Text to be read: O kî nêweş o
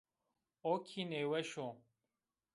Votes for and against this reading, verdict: 1, 2, rejected